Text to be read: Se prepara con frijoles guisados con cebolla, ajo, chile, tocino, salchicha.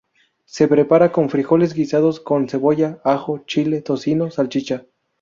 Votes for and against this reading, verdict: 2, 0, accepted